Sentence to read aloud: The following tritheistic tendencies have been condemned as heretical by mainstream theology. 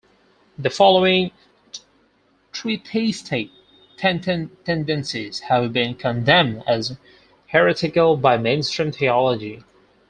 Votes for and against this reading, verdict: 0, 4, rejected